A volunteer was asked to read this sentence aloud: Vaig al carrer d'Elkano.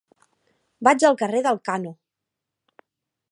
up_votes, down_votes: 2, 0